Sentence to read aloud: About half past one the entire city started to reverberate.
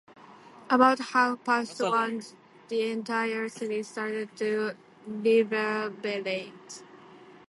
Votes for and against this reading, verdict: 0, 2, rejected